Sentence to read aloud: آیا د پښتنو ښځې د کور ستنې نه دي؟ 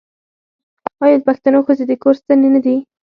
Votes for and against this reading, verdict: 4, 0, accepted